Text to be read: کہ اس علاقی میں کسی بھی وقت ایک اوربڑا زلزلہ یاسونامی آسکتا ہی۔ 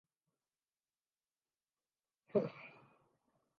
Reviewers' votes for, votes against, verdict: 0, 3, rejected